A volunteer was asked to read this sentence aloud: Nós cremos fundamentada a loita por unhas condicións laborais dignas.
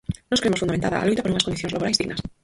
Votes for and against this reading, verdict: 0, 4, rejected